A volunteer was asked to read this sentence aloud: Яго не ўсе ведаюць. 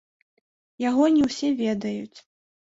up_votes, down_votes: 2, 0